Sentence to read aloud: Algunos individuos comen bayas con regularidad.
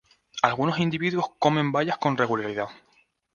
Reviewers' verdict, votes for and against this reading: accepted, 4, 0